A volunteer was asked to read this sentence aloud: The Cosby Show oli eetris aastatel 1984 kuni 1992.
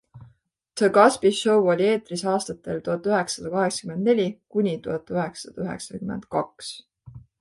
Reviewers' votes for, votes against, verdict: 0, 2, rejected